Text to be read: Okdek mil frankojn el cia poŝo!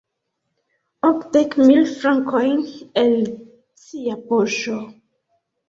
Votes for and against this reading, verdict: 2, 1, accepted